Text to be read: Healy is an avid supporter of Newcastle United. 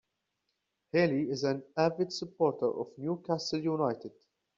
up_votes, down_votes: 2, 0